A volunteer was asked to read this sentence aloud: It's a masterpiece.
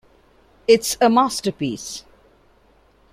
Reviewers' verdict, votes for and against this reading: accepted, 2, 0